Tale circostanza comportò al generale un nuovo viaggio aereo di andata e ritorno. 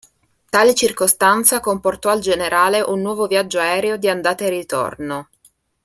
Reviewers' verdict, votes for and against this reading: accepted, 3, 0